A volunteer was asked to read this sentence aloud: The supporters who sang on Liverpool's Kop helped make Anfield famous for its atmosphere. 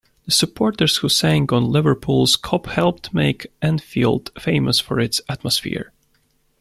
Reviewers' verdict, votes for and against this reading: accepted, 2, 0